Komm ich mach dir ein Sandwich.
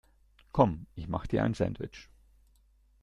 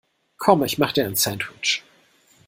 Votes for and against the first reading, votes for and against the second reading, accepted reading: 2, 0, 1, 2, first